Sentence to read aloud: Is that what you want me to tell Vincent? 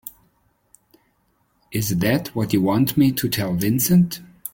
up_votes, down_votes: 3, 0